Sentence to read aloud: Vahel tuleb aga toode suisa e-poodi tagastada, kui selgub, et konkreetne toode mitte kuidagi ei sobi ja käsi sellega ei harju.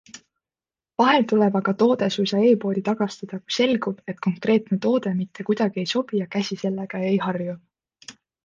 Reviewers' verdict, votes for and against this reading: accepted, 2, 0